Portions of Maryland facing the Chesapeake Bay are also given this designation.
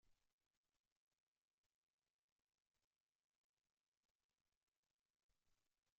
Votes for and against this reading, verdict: 0, 2, rejected